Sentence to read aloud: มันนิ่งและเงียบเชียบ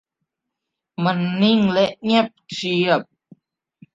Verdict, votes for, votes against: accepted, 2, 0